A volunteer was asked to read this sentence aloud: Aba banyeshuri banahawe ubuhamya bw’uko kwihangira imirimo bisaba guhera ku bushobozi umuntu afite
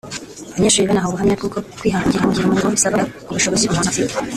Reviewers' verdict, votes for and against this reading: rejected, 1, 2